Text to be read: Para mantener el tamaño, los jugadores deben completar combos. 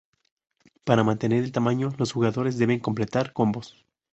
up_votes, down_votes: 0, 2